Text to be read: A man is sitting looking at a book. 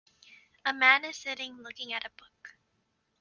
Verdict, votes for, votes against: accepted, 2, 0